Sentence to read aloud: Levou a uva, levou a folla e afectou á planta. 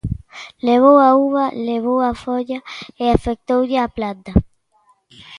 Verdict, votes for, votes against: rejected, 0, 2